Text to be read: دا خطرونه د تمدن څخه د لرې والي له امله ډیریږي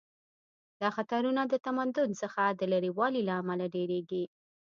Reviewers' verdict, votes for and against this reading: accepted, 2, 0